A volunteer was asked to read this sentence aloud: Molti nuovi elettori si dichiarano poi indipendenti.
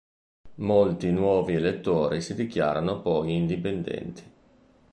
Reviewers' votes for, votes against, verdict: 2, 0, accepted